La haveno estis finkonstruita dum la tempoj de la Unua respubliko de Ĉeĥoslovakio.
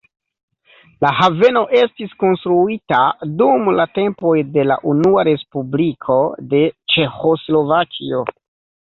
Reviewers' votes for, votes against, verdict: 0, 2, rejected